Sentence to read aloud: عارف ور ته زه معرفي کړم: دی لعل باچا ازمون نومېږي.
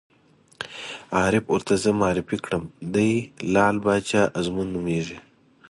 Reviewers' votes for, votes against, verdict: 2, 0, accepted